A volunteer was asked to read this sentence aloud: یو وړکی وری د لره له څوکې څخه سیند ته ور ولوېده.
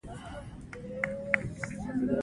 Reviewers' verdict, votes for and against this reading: rejected, 0, 2